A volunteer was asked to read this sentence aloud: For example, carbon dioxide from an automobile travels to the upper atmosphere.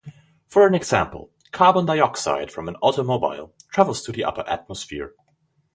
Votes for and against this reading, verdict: 0, 4, rejected